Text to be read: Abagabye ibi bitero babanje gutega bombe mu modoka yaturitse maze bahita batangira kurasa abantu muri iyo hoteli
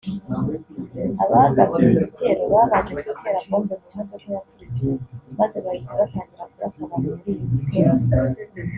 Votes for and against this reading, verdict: 1, 2, rejected